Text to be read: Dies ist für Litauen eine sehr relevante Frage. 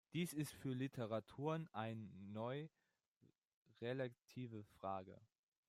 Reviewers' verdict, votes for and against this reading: rejected, 0, 2